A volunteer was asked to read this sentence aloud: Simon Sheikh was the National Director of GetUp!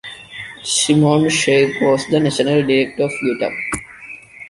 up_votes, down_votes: 2, 0